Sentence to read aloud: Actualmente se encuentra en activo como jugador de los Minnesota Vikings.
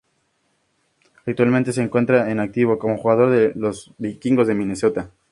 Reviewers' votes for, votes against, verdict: 0, 2, rejected